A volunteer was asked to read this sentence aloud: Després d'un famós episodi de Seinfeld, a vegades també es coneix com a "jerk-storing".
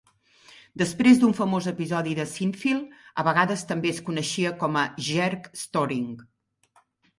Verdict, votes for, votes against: rejected, 0, 2